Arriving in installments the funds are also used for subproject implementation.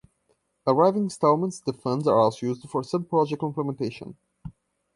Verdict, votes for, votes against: rejected, 2, 3